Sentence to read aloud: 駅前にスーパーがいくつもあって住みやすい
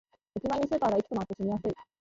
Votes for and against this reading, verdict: 1, 2, rejected